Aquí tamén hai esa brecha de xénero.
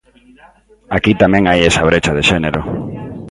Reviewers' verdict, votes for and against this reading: rejected, 0, 2